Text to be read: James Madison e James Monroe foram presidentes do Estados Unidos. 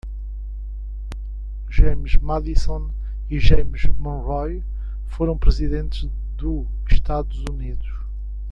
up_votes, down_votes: 1, 2